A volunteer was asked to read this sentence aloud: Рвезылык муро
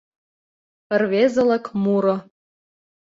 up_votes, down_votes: 2, 0